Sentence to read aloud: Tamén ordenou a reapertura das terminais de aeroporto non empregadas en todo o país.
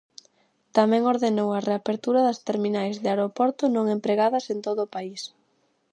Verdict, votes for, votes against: accepted, 2, 0